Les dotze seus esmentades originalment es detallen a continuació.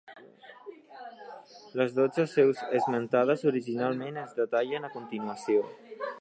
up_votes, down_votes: 1, 2